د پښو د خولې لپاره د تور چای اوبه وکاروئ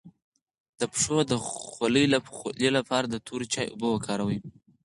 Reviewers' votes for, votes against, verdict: 4, 0, accepted